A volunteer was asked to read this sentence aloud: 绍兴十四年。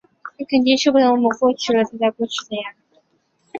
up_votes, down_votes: 0, 6